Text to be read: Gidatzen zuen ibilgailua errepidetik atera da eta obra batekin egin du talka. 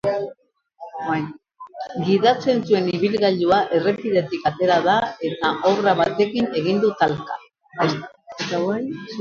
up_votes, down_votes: 0, 2